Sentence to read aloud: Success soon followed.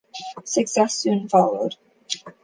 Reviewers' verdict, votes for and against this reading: accepted, 2, 0